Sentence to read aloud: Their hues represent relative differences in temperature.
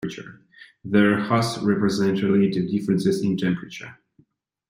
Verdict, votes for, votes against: rejected, 0, 2